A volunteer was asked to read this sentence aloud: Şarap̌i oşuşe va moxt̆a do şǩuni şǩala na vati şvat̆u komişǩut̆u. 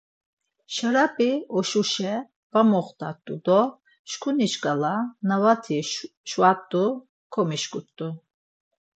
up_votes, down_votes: 2, 4